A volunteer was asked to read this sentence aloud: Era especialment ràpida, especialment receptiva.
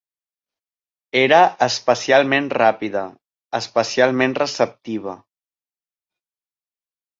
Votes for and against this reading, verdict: 4, 0, accepted